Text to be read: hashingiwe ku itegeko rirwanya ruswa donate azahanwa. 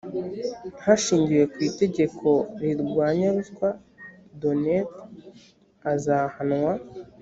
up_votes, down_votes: 0, 2